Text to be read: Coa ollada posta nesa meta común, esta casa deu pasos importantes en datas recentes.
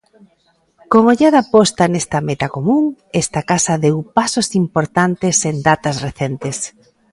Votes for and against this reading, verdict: 0, 2, rejected